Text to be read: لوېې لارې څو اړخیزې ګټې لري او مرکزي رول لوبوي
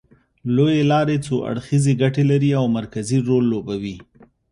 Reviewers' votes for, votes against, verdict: 2, 0, accepted